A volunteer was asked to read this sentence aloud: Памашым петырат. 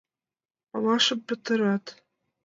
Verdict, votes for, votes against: rejected, 1, 2